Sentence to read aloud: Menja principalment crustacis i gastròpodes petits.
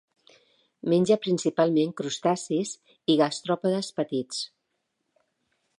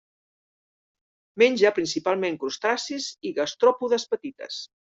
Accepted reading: first